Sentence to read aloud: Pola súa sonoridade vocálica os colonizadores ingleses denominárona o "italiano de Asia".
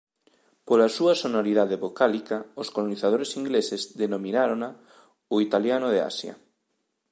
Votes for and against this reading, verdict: 0, 2, rejected